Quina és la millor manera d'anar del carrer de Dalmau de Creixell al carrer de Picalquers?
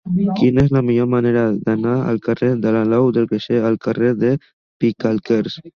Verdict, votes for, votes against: rejected, 0, 2